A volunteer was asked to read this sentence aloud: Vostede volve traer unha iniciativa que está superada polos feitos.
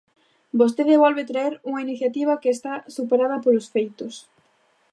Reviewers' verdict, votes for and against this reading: accepted, 2, 0